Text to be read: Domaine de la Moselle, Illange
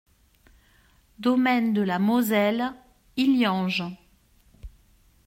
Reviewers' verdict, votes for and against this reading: accepted, 2, 0